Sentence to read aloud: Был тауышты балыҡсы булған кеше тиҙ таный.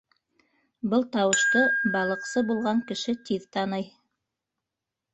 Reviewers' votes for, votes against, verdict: 1, 2, rejected